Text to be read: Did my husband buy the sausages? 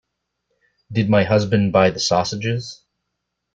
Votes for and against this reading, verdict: 2, 0, accepted